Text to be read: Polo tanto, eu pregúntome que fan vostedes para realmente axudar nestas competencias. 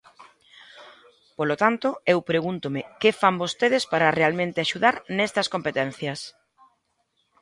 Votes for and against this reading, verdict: 2, 0, accepted